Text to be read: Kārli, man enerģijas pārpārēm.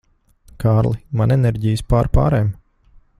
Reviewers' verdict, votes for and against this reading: accepted, 2, 0